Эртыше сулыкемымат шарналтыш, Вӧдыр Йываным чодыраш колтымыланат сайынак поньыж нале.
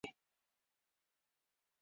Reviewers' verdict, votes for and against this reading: rejected, 0, 2